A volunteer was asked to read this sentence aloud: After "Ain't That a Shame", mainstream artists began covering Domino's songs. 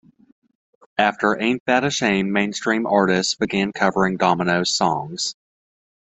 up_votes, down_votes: 2, 0